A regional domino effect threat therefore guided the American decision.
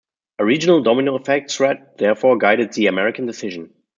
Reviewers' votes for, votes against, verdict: 2, 0, accepted